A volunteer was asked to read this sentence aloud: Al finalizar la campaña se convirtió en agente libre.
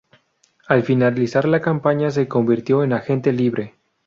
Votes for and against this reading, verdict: 0, 2, rejected